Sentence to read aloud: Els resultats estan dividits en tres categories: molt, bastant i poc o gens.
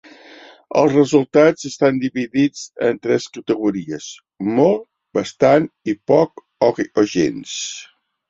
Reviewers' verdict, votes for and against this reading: rejected, 1, 2